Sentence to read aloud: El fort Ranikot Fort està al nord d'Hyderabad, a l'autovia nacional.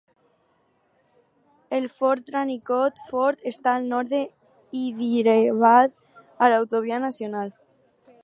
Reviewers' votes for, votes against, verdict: 4, 0, accepted